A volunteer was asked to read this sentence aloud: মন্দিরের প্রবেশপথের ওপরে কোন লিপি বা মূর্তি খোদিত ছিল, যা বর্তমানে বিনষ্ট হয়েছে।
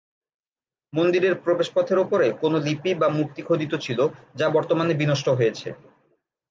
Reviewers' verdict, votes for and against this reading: accepted, 5, 0